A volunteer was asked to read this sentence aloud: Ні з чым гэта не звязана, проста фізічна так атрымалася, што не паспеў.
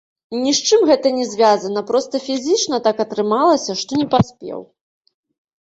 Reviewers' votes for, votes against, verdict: 0, 2, rejected